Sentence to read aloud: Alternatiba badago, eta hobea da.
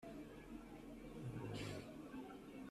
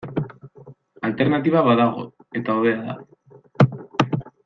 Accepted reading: second